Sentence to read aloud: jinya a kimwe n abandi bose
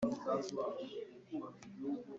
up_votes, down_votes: 0, 2